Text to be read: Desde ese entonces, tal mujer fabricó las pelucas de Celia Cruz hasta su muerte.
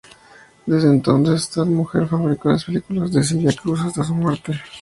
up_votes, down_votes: 6, 2